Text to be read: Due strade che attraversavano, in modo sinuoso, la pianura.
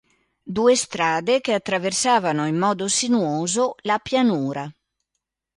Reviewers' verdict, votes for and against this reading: accepted, 2, 0